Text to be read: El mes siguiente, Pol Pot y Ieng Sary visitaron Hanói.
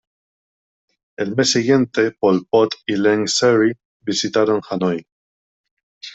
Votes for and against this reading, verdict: 2, 0, accepted